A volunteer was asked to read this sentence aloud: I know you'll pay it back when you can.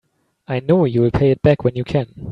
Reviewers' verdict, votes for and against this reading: accepted, 3, 0